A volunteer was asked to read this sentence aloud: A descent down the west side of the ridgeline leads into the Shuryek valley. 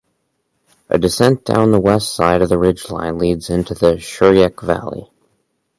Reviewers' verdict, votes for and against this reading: accepted, 4, 0